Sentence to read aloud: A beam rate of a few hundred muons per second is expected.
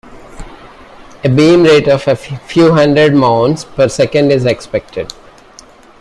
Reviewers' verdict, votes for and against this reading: rejected, 1, 2